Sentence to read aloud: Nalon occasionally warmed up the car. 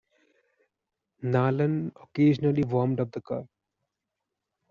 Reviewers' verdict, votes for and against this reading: accepted, 2, 0